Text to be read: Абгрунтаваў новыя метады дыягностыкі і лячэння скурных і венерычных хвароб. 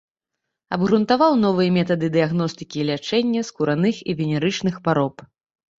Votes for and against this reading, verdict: 0, 2, rejected